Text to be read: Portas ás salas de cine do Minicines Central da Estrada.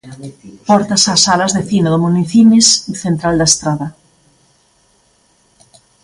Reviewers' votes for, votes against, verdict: 2, 0, accepted